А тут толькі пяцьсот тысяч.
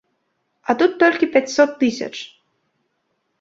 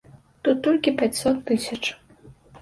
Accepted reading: first